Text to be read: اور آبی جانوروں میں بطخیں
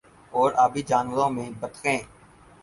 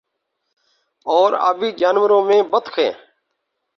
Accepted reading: first